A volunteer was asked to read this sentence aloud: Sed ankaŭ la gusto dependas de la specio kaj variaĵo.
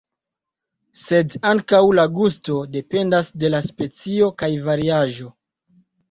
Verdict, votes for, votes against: accepted, 3, 0